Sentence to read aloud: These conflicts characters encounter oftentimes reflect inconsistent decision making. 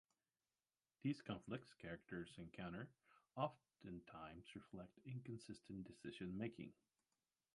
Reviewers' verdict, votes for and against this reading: accepted, 2, 0